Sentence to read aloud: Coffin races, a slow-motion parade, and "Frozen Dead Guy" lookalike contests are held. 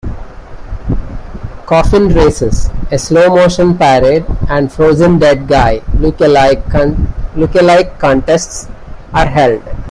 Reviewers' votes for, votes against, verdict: 2, 1, accepted